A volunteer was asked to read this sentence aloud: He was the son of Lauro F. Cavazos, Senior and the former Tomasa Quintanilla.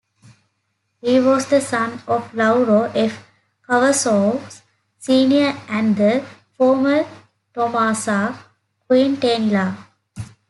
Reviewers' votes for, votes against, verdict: 2, 0, accepted